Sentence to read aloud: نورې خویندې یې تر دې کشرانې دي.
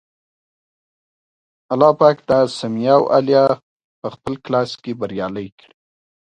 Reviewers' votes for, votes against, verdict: 0, 2, rejected